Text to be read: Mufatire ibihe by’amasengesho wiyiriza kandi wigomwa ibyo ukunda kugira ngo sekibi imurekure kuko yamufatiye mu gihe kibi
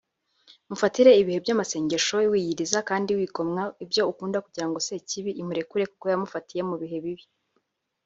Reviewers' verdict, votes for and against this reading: rejected, 0, 2